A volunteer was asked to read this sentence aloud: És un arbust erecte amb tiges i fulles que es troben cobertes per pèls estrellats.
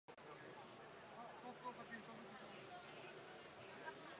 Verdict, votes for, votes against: rejected, 0, 2